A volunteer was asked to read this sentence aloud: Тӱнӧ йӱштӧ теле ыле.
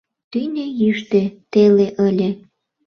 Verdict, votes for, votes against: accepted, 2, 0